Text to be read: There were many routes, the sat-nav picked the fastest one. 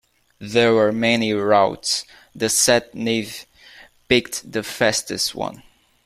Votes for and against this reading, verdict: 2, 1, accepted